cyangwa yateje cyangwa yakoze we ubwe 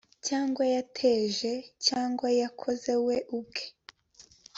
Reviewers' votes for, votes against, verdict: 3, 0, accepted